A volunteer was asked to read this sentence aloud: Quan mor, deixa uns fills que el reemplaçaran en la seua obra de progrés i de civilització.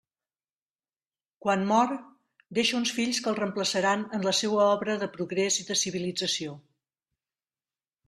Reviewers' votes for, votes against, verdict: 3, 0, accepted